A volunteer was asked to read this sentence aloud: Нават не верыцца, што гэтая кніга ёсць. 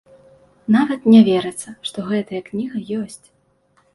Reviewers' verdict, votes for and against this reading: accepted, 2, 0